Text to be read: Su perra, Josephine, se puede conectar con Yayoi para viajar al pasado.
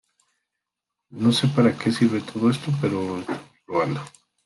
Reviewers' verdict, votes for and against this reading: rejected, 0, 2